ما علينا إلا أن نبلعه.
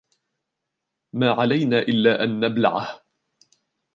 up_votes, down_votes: 1, 2